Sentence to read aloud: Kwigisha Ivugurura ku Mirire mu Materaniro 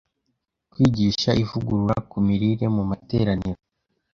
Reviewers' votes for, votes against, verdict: 2, 0, accepted